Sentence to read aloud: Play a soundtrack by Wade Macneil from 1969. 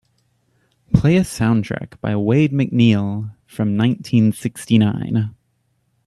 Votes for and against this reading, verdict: 0, 2, rejected